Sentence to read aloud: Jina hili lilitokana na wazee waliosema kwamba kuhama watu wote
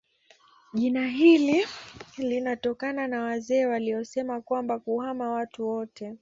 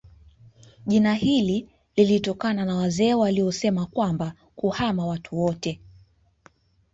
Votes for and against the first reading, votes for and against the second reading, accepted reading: 1, 2, 2, 1, second